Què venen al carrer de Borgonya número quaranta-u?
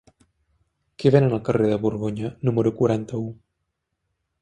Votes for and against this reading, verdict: 3, 0, accepted